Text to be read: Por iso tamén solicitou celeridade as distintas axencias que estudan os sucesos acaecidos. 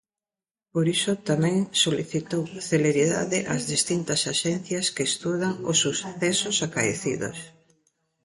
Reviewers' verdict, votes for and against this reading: rejected, 0, 2